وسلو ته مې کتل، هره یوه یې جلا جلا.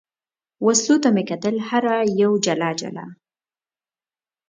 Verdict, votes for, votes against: accepted, 2, 0